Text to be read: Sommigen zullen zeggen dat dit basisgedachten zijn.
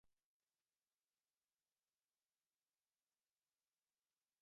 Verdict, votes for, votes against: rejected, 0, 2